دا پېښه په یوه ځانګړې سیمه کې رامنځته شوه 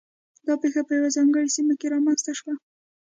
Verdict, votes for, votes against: accepted, 2, 0